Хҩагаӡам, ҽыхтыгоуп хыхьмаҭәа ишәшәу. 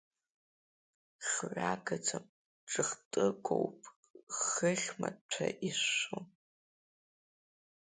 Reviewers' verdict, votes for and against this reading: accepted, 2, 1